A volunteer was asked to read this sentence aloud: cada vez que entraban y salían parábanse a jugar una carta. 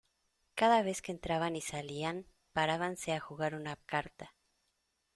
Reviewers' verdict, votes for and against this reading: accepted, 2, 0